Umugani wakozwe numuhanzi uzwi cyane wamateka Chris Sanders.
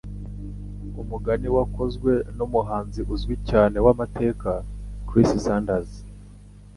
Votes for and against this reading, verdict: 2, 0, accepted